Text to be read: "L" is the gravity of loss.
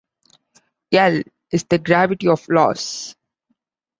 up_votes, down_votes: 2, 0